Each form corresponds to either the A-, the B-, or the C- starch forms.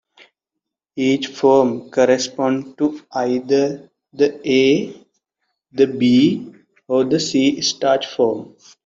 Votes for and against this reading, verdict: 2, 1, accepted